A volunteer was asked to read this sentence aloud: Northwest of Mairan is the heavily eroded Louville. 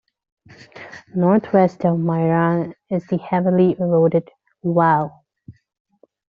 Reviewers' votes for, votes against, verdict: 1, 2, rejected